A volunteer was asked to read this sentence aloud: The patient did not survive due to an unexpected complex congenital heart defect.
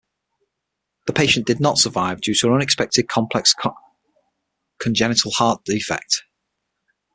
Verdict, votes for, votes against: rejected, 3, 6